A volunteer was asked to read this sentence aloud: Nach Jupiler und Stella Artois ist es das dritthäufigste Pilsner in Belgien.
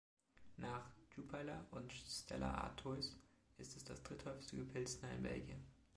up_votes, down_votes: 1, 2